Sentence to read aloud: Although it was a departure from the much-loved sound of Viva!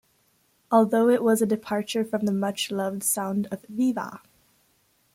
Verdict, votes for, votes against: accepted, 2, 0